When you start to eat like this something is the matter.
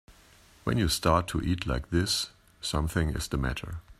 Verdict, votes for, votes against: accepted, 3, 0